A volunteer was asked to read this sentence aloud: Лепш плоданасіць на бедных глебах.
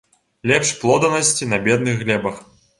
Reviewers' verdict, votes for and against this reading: rejected, 0, 2